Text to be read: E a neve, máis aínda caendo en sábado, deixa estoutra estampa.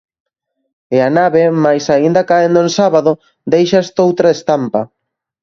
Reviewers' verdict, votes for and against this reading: rejected, 0, 2